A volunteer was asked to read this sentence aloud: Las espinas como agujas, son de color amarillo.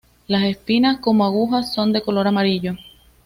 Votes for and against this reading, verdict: 2, 0, accepted